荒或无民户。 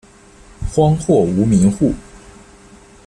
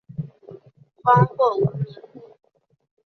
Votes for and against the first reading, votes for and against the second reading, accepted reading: 2, 1, 1, 2, first